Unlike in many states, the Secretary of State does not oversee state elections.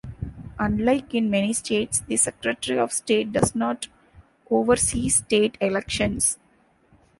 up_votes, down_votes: 2, 0